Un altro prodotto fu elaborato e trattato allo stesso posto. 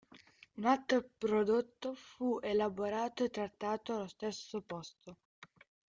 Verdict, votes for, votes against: rejected, 0, 2